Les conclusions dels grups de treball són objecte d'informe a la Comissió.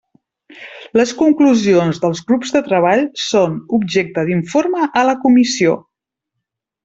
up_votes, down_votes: 3, 0